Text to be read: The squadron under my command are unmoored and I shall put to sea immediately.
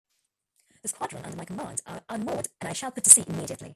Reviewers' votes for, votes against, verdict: 0, 2, rejected